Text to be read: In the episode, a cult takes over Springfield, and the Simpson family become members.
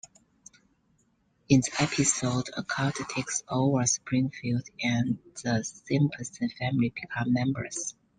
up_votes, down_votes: 1, 2